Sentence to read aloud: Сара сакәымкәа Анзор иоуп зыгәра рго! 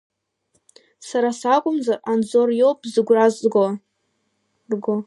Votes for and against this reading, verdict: 0, 2, rejected